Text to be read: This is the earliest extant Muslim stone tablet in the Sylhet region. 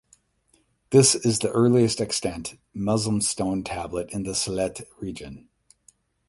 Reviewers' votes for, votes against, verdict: 4, 4, rejected